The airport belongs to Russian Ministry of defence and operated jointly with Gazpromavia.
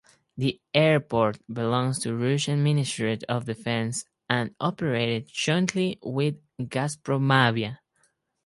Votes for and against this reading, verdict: 4, 0, accepted